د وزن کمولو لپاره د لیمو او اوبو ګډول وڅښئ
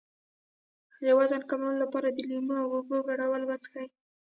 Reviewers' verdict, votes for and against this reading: rejected, 1, 2